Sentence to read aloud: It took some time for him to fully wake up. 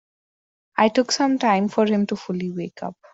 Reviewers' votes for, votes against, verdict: 0, 2, rejected